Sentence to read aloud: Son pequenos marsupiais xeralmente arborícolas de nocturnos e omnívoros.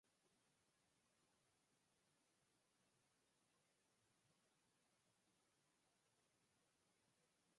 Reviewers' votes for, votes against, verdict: 0, 4, rejected